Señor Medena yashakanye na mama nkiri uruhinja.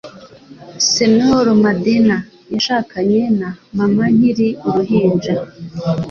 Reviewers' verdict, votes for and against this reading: accepted, 2, 0